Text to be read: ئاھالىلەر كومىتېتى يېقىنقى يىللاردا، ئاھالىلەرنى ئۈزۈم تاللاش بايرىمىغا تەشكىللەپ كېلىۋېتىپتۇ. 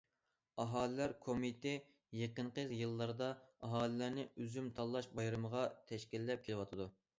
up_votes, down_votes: 0, 2